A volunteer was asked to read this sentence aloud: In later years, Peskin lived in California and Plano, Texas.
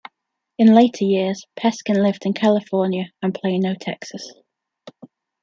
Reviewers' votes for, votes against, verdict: 2, 0, accepted